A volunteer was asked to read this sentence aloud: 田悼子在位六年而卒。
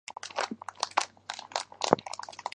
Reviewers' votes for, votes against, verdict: 1, 4, rejected